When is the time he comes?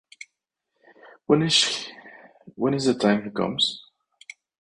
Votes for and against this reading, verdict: 2, 4, rejected